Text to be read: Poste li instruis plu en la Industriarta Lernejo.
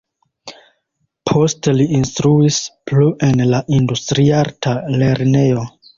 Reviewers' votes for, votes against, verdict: 2, 0, accepted